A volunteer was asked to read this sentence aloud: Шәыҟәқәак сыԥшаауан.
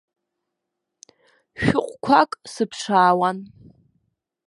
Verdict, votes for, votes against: accepted, 2, 0